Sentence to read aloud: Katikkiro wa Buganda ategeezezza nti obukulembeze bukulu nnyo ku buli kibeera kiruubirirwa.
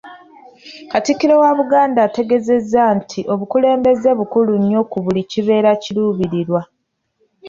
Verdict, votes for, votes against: rejected, 1, 2